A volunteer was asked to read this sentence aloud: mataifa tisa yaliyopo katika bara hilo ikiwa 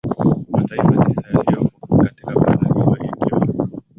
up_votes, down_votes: 1, 2